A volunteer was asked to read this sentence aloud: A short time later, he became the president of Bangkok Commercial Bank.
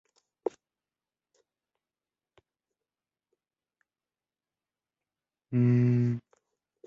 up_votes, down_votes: 0, 2